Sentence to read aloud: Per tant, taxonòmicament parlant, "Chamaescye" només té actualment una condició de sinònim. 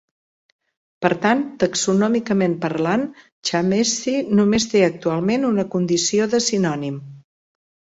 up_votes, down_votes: 0, 2